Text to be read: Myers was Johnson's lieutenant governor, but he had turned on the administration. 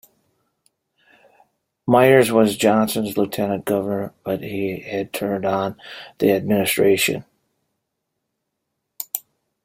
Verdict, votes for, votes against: accepted, 2, 0